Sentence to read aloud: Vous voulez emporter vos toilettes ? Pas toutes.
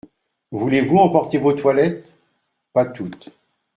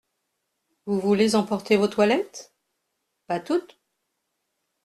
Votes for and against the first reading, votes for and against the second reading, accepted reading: 1, 2, 2, 0, second